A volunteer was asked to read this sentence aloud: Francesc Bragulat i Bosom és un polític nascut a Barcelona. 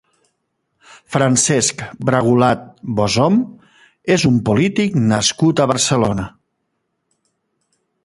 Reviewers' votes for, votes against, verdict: 0, 3, rejected